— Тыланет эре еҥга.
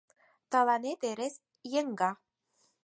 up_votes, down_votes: 4, 0